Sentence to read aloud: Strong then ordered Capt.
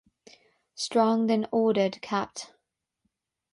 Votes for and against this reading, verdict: 0, 3, rejected